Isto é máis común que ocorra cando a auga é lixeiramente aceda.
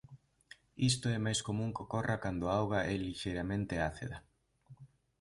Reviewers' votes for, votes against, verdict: 1, 2, rejected